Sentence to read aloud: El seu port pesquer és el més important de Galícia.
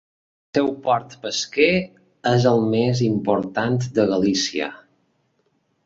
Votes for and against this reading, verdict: 0, 2, rejected